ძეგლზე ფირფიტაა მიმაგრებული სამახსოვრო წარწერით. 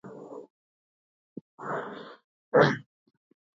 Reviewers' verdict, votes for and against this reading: rejected, 0, 2